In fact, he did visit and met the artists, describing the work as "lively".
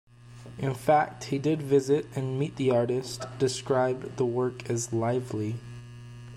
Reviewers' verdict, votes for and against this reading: rejected, 0, 2